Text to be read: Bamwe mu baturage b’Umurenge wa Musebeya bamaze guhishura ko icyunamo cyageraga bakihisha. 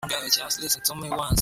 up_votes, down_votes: 1, 2